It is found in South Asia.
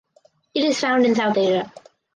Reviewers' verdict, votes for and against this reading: rejected, 0, 2